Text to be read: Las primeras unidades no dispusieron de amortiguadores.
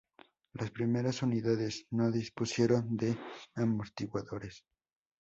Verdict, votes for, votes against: rejected, 0, 2